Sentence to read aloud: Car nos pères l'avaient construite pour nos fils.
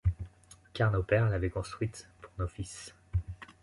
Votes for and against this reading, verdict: 2, 0, accepted